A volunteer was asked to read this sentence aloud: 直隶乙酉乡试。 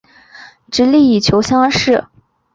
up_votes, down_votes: 2, 4